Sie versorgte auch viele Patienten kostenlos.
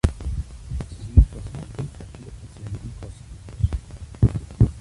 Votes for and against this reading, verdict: 1, 2, rejected